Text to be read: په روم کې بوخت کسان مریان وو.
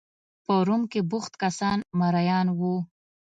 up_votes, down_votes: 2, 0